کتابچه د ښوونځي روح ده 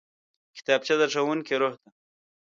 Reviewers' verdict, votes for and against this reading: rejected, 1, 2